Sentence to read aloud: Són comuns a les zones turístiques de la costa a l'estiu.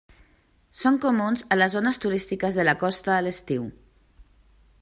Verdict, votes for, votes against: accepted, 3, 0